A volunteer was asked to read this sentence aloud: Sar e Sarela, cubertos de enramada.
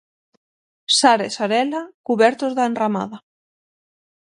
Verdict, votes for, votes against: accepted, 6, 3